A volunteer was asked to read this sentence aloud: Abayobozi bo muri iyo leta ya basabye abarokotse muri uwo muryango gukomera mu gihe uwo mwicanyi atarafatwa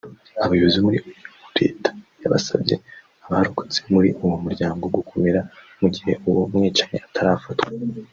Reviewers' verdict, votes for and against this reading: rejected, 1, 3